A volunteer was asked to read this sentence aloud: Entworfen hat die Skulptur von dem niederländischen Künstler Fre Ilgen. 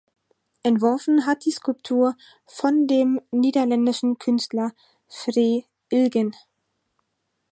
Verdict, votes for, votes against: accepted, 4, 0